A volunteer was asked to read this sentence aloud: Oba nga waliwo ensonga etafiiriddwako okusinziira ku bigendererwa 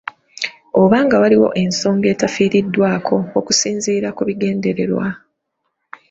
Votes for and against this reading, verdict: 2, 0, accepted